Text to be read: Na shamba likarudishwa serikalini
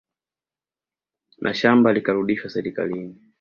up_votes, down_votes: 2, 0